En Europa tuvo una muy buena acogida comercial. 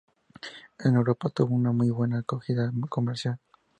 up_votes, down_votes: 2, 0